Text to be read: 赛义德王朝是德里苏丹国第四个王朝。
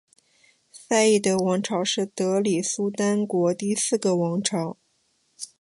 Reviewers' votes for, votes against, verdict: 6, 2, accepted